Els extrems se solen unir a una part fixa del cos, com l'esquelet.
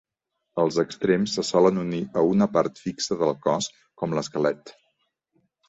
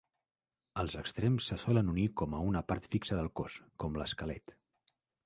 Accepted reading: first